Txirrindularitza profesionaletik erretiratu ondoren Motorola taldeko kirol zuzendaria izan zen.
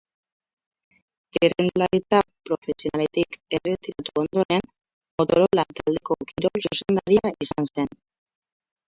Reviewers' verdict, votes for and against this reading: rejected, 0, 4